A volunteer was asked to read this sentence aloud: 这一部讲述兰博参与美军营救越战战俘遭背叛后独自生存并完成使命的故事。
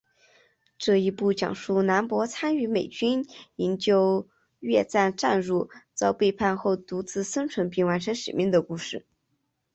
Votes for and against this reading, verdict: 2, 0, accepted